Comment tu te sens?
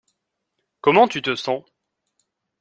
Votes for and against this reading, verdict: 2, 0, accepted